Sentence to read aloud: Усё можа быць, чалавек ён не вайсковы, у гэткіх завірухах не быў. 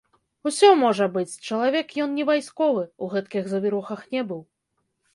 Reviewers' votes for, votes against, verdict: 1, 2, rejected